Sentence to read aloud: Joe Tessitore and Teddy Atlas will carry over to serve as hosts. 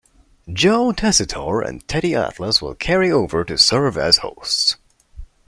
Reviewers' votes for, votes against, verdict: 2, 0, accepted